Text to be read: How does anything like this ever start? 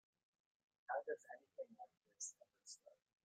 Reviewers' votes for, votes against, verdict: 0, 2, rejected